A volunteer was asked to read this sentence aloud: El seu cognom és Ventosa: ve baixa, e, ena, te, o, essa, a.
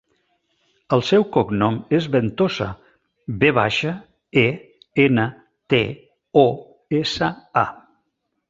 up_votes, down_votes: 2, 0